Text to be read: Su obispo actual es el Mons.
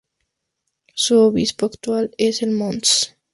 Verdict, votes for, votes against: accepted, 2, 0